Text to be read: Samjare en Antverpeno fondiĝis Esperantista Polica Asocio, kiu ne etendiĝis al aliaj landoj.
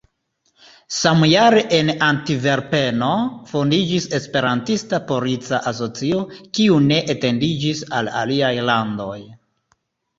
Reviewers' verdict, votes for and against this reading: accepted, 2, 0